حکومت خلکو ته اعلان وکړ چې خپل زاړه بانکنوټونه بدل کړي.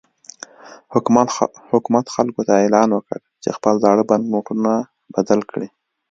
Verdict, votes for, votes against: rejected, 1, 2